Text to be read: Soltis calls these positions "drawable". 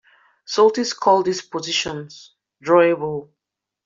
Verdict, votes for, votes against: rejected, 0, 2